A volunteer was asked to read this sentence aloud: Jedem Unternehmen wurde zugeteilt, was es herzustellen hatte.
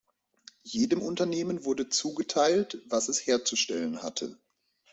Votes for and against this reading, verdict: 2, 0, accepted